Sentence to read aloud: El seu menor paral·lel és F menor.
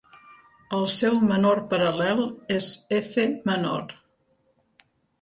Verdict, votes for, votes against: accepted, 2, 1